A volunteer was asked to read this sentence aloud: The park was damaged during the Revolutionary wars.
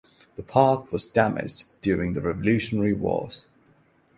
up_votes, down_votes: 6, 0